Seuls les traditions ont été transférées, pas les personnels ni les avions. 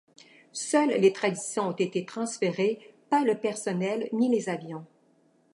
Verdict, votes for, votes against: rejected, 1, 2